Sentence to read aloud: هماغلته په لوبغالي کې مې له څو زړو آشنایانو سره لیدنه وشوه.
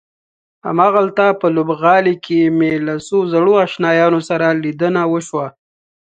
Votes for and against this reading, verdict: 2, 0, accepted